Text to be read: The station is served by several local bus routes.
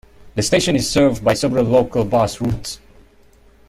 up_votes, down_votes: 3, 0